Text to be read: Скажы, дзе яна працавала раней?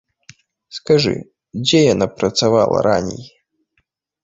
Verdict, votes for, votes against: rejected, 1, 2